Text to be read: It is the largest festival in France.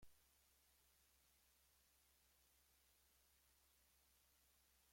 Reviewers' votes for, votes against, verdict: 0, 2, rejected